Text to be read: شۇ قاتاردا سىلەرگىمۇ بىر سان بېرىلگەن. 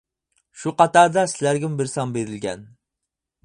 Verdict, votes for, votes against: rejected, 0, 4